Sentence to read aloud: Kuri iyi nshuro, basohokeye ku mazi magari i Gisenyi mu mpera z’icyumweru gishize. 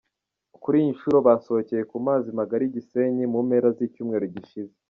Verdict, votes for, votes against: rejected, 0, 2